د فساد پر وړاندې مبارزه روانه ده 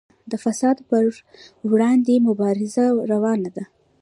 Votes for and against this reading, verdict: 2, 0, accepted